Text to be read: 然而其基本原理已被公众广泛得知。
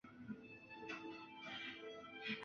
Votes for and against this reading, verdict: 3, 1, accepted